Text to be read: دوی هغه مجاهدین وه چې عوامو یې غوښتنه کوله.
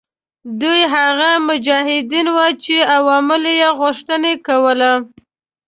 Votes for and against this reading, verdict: 0, 2, rejected